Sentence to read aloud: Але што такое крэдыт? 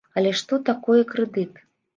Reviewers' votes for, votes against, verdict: 2, 0, accepted